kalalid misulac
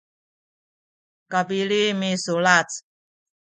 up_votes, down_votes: 0, 2